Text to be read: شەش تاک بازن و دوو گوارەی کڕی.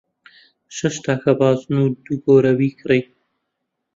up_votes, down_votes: 0, 2